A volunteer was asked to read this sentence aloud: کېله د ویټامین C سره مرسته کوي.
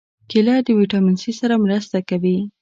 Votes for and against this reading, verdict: 3, 0, accepted